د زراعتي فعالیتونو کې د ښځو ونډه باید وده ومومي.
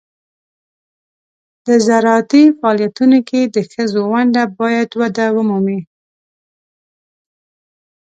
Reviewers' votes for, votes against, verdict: 2, 1, accepted